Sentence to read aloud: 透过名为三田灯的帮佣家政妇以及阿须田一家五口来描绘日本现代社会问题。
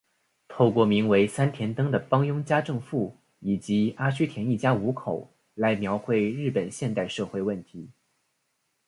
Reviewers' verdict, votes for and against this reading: accepted, 3, 0